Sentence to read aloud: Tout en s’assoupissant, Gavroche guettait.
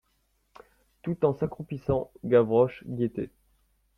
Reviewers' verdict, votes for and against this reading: rejected, 1, 2